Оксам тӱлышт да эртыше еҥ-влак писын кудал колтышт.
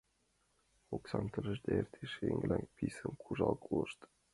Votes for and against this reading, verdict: 0, 2, rejected